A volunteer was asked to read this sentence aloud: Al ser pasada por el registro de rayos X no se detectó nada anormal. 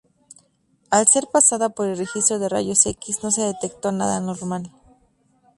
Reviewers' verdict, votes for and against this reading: accepted, 4, 0